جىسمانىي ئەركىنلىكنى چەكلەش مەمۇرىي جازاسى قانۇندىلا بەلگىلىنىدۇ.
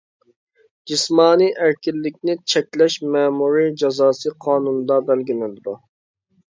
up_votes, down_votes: 0, 2